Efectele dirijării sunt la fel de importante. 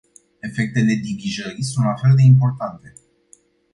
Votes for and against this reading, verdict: 0, 2, rejected